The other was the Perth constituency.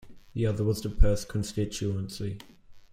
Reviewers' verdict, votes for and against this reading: rejected, 1, 2